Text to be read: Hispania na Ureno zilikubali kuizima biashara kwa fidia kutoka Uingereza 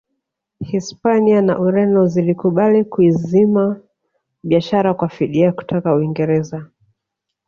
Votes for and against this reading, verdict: 1, 2, rejected